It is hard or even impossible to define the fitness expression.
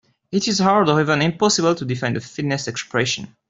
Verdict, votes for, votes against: accepted, 2, 0